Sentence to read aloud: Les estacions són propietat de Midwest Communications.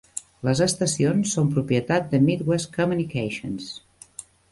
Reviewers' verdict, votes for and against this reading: accepted, 3, 0